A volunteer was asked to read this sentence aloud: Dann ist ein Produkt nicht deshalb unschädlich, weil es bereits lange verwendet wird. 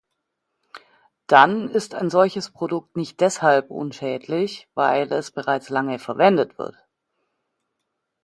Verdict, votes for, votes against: rejected, 0, 2